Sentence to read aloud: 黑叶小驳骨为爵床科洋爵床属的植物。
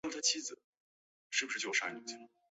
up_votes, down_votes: 0, 2